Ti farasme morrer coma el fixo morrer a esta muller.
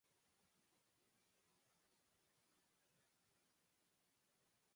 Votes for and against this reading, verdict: 0, 4, rejected